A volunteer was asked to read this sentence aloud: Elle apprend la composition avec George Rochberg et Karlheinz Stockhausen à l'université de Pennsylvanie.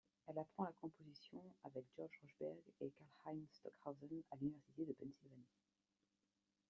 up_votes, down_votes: 0, 2